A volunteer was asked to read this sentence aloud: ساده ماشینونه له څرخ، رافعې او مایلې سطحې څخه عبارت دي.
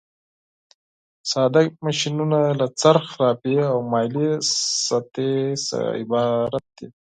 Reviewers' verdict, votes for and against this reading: rejected, 2, 4